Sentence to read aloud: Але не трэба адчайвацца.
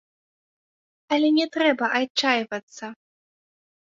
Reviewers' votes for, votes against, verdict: 1, 2, rejected